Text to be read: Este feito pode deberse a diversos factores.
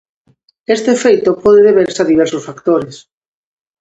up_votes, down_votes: 2, 0